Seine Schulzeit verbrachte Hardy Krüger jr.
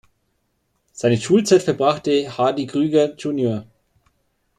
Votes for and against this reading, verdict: 2, 0, accepted